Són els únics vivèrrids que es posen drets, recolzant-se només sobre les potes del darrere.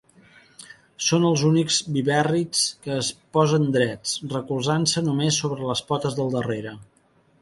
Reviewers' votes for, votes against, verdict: 3, 0, accepted